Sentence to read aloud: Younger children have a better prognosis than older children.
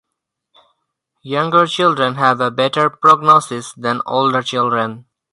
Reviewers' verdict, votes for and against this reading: accepted, 4, 0